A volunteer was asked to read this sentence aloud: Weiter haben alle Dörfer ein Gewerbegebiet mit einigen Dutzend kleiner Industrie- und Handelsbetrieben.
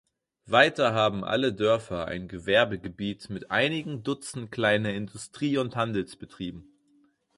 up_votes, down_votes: 4, 0